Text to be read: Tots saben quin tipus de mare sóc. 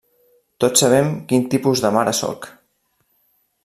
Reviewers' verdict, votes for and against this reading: rejected, 0, 2